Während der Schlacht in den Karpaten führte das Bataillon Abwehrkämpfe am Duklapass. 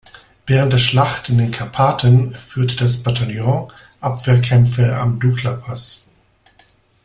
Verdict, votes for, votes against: accepted, 2, 0